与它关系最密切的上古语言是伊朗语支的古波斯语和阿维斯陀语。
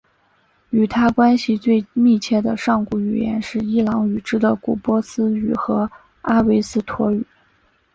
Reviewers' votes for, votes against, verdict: 3, 1, accepted